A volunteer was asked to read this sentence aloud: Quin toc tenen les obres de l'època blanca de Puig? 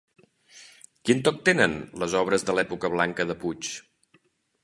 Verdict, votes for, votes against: accepted, 3, 0